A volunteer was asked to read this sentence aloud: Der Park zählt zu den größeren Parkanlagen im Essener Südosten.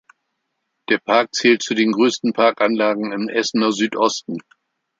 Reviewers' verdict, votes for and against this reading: rejected, 0, 2